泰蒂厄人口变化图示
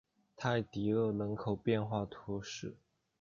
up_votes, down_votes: 2, 0